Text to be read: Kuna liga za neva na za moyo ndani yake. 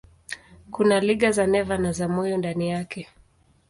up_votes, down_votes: 2, 0